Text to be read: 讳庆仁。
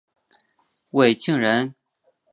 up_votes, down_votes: 2, 0